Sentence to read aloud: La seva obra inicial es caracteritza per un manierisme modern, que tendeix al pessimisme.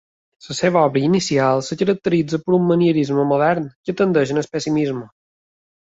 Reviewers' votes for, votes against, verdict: 0, 2, rejected